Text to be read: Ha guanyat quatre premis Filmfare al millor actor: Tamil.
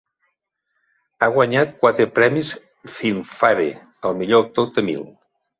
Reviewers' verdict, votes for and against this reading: accepted, 2, 1